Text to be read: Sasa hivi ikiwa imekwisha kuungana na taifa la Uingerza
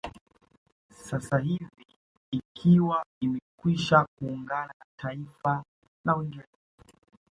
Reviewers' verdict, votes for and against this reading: accepted, 2, 1